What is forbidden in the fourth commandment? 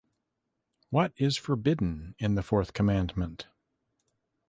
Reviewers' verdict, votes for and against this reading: accepted, 2, 0